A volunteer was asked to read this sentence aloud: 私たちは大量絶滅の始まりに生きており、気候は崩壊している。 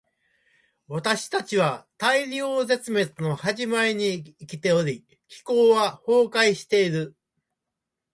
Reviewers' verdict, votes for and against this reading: accepted, 2, 0